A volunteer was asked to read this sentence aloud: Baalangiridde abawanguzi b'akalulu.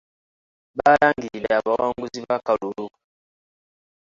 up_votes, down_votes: 1, 2